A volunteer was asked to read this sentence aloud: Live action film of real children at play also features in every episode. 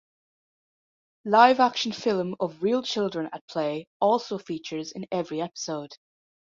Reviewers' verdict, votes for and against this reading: accepted, 2, 0